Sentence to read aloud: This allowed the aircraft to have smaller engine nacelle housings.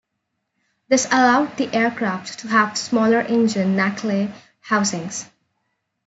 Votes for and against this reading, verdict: 1, 2, rejected